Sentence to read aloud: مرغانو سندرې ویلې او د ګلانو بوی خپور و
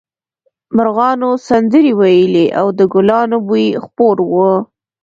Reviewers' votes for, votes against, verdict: 0, 2, rejected